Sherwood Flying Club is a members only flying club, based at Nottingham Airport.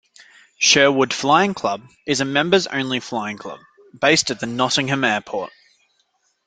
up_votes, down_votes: 0, 2